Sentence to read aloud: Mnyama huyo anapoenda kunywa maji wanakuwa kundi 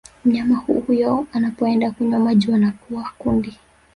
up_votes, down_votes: 1, 2